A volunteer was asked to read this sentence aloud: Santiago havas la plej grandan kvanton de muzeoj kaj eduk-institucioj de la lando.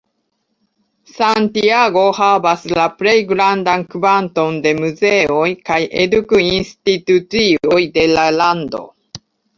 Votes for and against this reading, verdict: 1, 2, rejected